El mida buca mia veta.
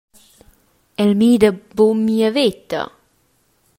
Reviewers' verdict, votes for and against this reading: accepted, 2, 0